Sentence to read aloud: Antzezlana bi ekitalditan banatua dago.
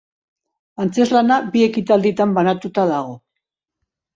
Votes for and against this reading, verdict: 4, 2, accepted